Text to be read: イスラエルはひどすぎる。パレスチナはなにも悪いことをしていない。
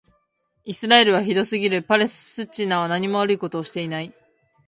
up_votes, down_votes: 1, 2